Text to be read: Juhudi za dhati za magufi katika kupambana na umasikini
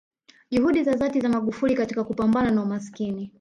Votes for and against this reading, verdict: 1, 2, rejected